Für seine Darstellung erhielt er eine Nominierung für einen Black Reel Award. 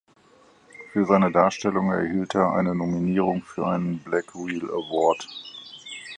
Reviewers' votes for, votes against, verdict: 2, 4, rejected